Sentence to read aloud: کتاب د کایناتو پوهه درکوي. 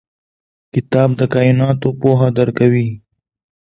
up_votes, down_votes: 2, 0